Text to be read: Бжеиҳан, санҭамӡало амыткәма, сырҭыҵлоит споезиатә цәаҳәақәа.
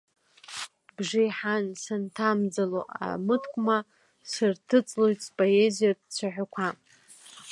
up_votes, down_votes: 3, 1